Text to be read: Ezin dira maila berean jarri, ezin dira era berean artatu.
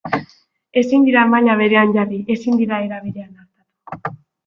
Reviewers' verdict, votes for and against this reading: rejected, 1, 2